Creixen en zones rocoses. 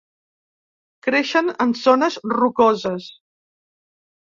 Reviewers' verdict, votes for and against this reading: accepted, 2, 0